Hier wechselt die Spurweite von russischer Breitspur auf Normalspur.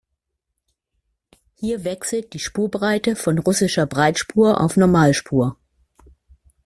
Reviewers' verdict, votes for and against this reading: rejected, 0, 2